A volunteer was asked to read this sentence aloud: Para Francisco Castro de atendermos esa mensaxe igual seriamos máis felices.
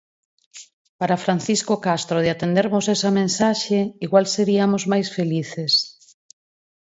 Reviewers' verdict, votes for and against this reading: accepted, 4, 0